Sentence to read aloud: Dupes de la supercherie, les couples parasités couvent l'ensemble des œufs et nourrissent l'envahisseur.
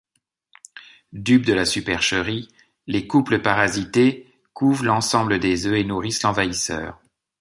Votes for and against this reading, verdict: 2, 0, accepted